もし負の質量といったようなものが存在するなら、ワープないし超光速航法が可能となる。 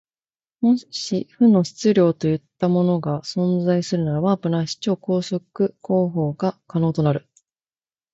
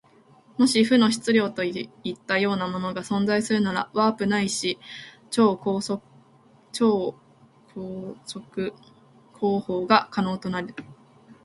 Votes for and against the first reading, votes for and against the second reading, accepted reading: 2, 0, 1, 2, first